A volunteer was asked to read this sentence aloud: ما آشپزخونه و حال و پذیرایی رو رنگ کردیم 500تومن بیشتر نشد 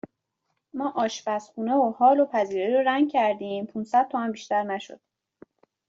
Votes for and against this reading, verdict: 0, 2, rejected